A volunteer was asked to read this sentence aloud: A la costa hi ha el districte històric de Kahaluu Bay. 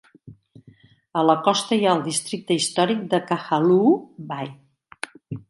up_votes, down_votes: 1, 2